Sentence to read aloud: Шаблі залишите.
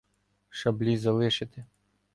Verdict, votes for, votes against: accepted, 2, 0